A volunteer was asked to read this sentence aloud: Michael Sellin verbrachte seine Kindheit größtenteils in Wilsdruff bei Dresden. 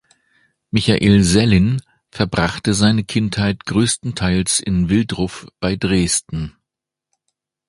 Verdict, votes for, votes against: rejected, 0, 2